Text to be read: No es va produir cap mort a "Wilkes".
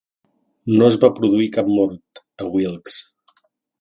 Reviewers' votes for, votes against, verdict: 2, 0, accepted